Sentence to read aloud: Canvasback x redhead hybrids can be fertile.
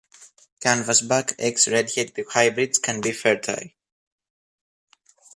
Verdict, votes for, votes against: rejected, 1, 2